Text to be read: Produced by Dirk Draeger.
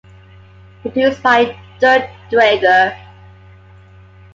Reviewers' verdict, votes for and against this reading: accepted, 2, 0